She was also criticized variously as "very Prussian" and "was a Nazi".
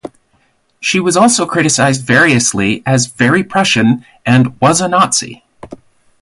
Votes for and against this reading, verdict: 4, 0, accepted